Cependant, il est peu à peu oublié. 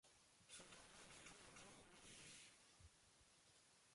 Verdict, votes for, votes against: rejected, 0, 2